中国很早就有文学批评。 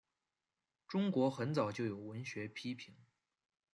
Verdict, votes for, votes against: accepted, 2, 0